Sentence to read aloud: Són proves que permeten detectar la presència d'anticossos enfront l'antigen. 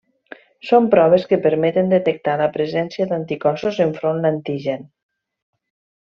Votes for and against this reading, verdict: 1, 2, rejected